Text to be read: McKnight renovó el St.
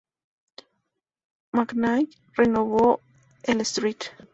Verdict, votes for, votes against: accepted, 2, 0